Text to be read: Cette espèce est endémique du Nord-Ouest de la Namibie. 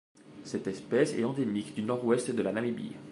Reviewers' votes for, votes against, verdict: 2, 0, accepted